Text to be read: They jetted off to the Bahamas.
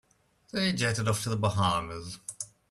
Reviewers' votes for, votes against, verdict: 2, 1, accepted